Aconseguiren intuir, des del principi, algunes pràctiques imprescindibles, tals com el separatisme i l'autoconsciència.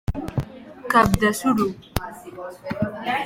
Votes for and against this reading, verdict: 0, 2, rejected